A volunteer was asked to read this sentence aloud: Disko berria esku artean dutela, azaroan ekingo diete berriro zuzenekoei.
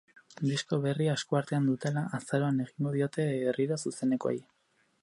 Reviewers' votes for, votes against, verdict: 0, 4, rejected